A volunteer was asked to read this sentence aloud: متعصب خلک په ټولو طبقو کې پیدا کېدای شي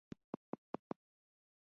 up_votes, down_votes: 0, 2